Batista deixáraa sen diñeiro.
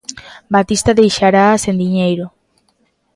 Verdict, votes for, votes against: rejected, 0, 2